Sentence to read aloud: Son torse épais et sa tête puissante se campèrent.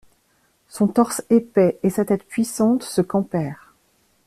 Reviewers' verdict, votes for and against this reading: accepted, 2, 0